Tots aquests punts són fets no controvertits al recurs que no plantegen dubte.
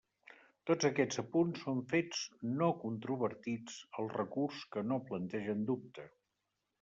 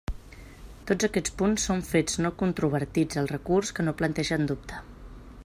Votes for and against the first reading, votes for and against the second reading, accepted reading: 1, 2, 2, 0, second